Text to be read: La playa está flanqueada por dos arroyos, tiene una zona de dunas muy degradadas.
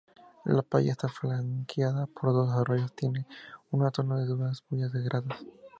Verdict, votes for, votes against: rejected, 0, 2